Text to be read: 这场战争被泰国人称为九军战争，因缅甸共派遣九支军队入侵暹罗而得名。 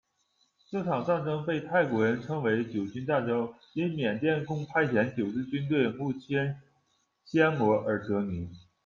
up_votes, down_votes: 2, 0